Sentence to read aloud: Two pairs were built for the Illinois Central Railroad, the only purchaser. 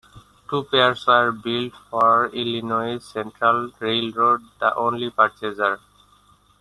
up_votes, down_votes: 2, 1